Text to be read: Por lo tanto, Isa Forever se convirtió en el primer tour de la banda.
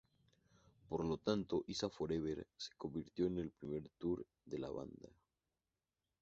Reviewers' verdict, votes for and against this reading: accepted, 2, 0